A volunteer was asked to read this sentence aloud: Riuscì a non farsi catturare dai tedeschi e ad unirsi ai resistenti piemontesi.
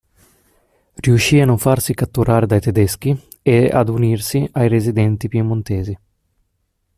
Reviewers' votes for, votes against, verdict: 0, 2, rejected